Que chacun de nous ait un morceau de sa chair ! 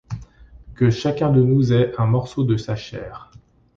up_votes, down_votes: 1, 2